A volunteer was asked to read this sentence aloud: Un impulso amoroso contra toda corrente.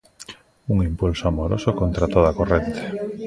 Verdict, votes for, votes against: accepted, 2, 0